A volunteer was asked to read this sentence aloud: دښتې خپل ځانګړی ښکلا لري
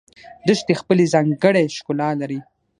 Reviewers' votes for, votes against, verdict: 6, 0, accepted